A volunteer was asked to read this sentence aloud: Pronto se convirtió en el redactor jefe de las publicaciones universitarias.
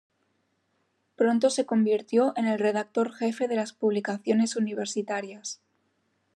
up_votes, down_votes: 2, 0